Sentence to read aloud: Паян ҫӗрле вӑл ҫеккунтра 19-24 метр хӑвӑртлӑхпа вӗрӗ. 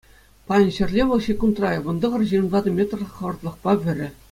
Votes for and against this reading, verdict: 0, 2, rejected